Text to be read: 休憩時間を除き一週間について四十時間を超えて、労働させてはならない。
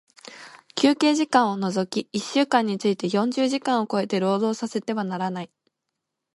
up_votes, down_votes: 0, 2